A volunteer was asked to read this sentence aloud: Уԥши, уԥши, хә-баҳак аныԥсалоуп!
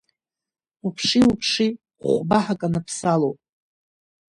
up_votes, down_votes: 2, 0